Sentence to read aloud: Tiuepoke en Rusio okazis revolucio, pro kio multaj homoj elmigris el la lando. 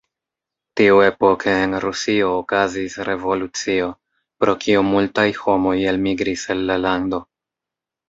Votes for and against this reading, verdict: 1, 2, rejected